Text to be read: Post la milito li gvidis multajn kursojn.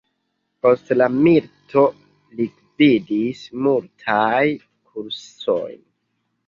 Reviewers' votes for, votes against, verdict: 1, 2, rejected